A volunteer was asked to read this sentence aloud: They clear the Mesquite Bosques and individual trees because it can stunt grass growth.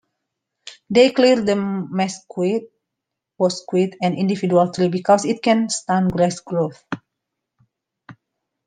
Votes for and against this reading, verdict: 0, 2, rejected